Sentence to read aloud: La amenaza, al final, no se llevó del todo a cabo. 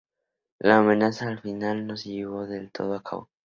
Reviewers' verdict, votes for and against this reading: rejected, 0, 2